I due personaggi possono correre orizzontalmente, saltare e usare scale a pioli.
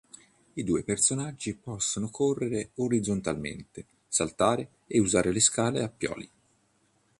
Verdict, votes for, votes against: rejected, 1, 2